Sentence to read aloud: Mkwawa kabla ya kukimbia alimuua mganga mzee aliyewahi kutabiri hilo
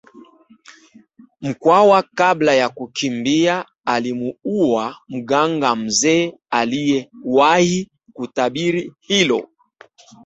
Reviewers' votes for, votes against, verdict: 2, 0, accepted